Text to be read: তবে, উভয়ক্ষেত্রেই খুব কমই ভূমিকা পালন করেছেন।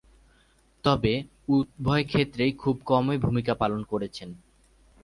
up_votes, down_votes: 2, 0